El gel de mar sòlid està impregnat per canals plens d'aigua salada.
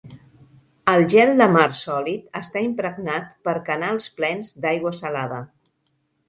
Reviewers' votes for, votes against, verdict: 5, 0, accepted